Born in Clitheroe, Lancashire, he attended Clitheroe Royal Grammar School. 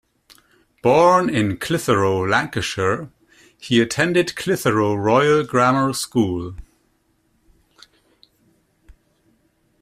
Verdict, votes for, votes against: accepted, 2, 0